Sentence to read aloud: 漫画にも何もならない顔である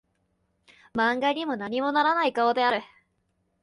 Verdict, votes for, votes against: accepted, 2, 0